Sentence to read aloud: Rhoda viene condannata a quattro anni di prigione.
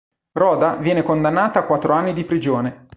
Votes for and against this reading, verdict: 3, 0, accepted